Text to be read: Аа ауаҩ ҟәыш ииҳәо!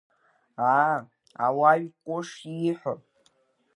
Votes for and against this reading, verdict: 0, 2, rejected